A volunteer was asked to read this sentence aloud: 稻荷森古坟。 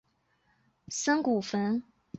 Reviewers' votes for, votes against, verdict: 3, 4, rejected